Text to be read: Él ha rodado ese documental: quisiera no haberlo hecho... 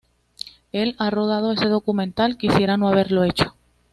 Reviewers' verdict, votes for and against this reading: accepted, 2, 0